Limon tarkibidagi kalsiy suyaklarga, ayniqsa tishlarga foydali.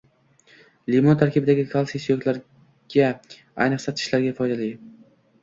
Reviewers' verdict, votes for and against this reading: accepted, 2, 0